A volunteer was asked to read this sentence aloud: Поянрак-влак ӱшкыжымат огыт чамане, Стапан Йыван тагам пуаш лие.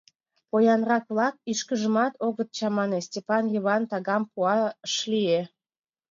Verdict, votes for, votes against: rejected, 0, 2